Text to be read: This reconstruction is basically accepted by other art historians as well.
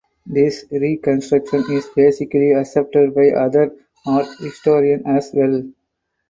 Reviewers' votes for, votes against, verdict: 2, 0, accepted